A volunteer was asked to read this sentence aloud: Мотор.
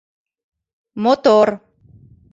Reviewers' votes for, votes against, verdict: 2, 0, accepted